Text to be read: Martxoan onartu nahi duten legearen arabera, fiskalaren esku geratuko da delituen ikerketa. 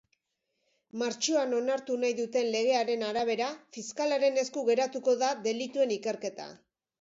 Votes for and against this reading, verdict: 3, 0, accepted